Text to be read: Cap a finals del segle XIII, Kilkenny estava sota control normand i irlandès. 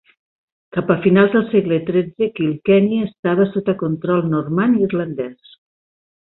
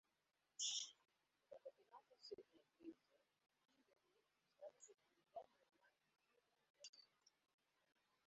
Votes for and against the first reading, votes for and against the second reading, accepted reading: 2, 1, 0, 2, first